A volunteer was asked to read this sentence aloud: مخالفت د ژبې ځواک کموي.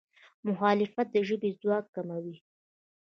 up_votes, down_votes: 0, 2